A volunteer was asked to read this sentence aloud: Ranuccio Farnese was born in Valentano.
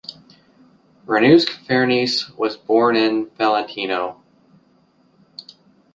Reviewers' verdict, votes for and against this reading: accepted, 2, 1